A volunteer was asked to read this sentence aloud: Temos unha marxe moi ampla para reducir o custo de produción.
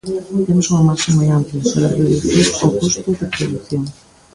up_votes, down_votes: 0, 2